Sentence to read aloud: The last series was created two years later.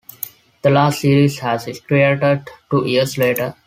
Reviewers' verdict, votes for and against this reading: rejected, 1, 2